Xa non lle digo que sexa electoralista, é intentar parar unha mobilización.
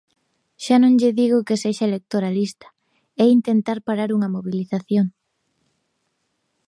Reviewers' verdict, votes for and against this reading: accepted, 2, 0